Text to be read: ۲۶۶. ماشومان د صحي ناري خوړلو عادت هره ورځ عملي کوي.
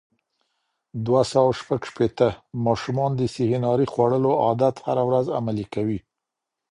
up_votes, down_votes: 0, 2